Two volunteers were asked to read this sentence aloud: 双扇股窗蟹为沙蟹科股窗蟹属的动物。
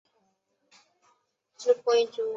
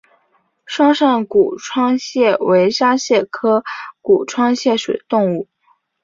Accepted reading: second